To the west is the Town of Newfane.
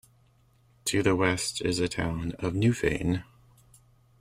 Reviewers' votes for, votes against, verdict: 2, 0, accepted